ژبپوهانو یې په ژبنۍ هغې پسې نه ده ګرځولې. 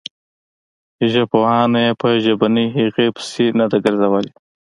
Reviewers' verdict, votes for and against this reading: accepted, 2, 0